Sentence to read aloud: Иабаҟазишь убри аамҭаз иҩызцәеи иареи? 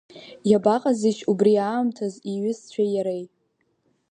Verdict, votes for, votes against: rejected, 1, 2